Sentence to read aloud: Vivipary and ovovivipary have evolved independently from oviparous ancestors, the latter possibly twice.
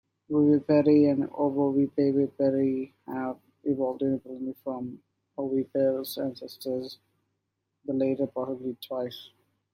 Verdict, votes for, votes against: rejected, 0, 2